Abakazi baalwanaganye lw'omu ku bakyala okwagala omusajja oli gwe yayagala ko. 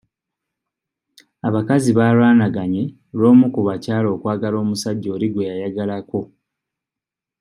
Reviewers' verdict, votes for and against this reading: accepted, 2, 0